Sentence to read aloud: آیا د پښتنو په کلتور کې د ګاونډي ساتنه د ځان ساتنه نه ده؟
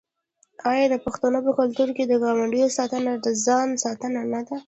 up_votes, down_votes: 2, 1